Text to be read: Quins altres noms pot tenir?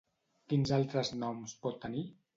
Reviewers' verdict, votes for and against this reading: accepted, 2, 0